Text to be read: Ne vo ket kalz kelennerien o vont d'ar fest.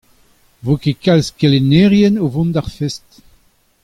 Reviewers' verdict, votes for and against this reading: accepted, 2, 0